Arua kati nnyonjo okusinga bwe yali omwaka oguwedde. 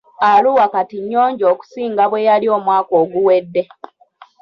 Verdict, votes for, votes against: rejected, 0, 2